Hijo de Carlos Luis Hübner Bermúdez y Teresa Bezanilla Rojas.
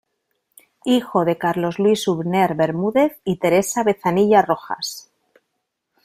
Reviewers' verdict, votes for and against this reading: accepted, 2, 0